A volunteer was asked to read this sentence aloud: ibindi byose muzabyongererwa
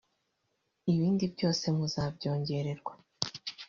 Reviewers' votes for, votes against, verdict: 0, 2, rejected